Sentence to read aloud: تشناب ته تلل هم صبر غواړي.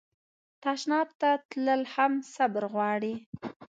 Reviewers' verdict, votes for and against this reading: accepted, 2, 0